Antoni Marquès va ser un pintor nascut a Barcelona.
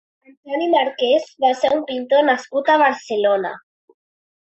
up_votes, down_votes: 1, 2